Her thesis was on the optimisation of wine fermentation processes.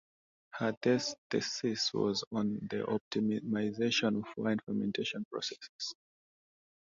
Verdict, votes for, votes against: rejected, 1, 2